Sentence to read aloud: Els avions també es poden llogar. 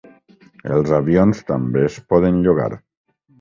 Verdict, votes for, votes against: accepted, 4, 0